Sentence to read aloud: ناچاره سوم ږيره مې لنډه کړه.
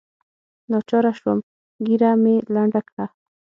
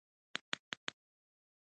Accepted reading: first